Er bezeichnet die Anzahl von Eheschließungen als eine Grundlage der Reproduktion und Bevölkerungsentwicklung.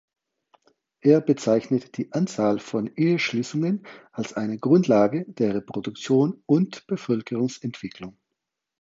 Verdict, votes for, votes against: accepted, 4, 0